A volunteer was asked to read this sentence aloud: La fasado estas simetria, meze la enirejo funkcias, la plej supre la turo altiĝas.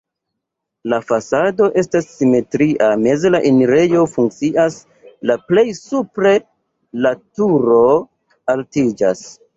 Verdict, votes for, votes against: rejected, 0, 2